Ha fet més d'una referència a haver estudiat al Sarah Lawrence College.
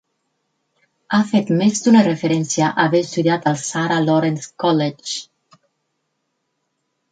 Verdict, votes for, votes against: rejected, 4, 6